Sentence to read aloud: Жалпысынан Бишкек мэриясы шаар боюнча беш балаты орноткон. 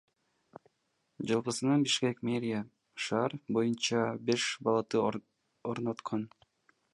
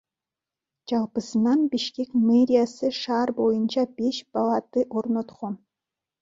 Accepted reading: first